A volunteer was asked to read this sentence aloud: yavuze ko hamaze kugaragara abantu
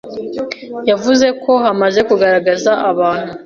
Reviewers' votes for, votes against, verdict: 0, 2, rejected